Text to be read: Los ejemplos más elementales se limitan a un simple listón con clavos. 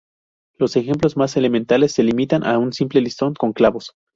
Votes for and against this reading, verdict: 2, 0, accepted